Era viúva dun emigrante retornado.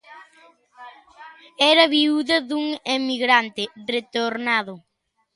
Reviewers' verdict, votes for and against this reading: rejected, 0, 2